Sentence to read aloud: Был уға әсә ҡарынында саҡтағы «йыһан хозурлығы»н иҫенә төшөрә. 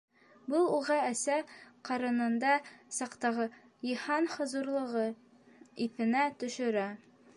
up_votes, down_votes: 2, 0